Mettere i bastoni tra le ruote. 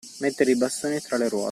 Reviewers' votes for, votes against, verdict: 1, 2, rejected